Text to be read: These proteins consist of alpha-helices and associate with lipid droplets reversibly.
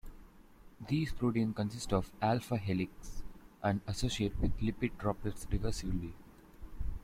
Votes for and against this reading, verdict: 0, 2, rejected